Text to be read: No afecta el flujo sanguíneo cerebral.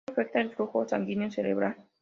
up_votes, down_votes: 0, 2